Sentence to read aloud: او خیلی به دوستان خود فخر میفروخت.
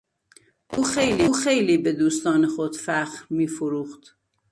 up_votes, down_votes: 1, 2